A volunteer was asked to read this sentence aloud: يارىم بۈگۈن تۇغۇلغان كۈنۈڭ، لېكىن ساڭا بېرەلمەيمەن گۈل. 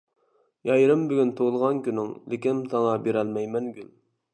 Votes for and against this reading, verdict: 1, 2, rejected